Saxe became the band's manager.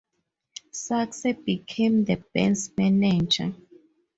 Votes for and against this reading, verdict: 0, 2, rejected